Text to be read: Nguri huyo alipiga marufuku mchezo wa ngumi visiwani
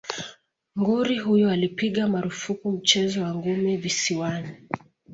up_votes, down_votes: 2, 0